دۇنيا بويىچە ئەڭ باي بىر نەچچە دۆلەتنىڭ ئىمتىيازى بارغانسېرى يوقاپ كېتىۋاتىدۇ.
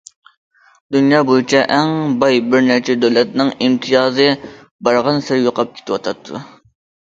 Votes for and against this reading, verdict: 0, 2, rejected